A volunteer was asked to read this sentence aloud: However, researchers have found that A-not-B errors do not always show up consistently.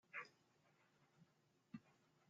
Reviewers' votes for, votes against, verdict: 0, 2, rejected